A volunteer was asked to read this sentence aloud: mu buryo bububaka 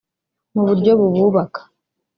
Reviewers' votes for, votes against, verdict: 0, 2, rejected